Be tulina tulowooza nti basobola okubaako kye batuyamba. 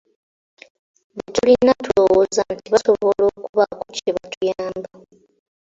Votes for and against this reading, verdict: 2, 1, accepted